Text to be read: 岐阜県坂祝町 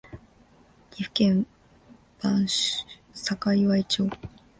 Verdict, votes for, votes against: rejected, 3, 4